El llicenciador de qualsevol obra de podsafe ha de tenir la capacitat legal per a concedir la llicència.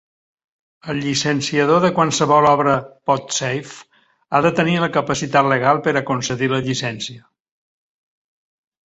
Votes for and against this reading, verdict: 1, 3, rejected